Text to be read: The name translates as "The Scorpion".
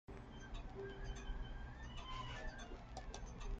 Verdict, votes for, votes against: rejected, 0, 2